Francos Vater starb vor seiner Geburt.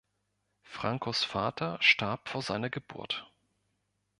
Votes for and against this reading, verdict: 3, 0, accepted